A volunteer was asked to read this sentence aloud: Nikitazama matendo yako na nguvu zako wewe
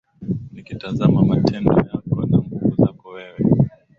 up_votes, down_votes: 2, 1